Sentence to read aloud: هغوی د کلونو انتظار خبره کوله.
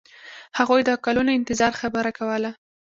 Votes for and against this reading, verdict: 2, 0, accepted